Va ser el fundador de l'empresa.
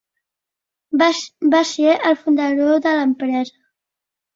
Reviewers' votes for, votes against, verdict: 0, 2, rejected